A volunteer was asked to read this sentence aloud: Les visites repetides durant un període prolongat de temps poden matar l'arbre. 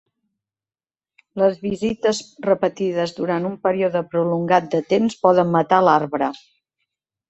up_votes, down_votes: 1, 2